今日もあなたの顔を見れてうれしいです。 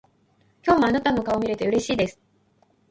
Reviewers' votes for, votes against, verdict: 2, 0, accepted